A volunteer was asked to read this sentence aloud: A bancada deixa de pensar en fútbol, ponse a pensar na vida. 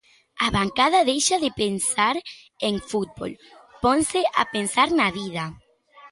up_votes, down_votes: 2, 0